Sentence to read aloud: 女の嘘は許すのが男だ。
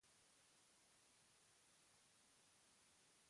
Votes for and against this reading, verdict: 0, 2, rejected